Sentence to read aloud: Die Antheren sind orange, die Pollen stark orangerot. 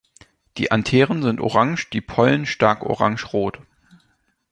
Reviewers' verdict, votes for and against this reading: accepted, 3, 0